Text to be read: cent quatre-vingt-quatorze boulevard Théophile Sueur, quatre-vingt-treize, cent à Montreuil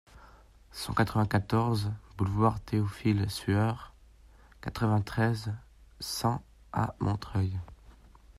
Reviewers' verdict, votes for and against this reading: accepted, 2, 0